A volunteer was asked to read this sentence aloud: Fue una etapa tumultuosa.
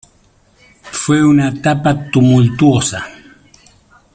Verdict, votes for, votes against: accepted, 2, 1